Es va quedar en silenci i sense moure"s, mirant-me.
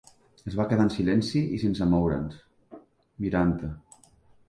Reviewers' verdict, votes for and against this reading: rejected, 0, 2